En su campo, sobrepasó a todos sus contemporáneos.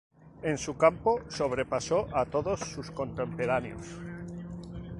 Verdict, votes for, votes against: rejected, 0, 2